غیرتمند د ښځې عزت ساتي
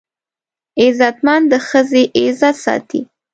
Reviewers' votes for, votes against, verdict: 1, 2, rejected